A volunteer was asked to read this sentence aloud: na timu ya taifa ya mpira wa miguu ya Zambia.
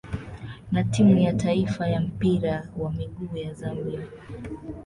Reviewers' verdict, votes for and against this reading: rejected, 0, 2